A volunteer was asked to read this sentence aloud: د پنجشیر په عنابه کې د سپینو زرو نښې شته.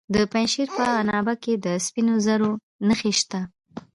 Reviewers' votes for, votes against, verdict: 2, 1, accepted